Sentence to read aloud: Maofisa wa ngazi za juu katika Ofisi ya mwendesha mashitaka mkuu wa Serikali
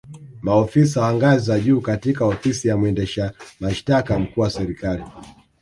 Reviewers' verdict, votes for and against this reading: accepted, 2, 0